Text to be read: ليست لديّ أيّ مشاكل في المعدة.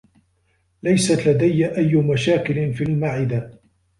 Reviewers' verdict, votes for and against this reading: rejected, 1, 2